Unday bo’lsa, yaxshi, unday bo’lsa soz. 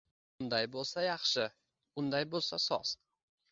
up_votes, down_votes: 2, 0